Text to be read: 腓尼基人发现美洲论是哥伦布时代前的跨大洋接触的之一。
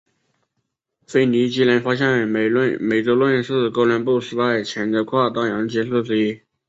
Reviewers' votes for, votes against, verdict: 0, 2, rejected